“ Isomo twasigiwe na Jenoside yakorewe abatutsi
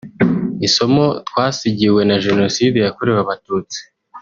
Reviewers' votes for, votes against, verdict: 1, 2, rejected